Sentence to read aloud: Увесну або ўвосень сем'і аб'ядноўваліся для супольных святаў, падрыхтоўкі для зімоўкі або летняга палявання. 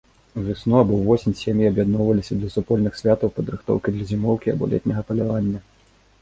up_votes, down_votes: 1, 2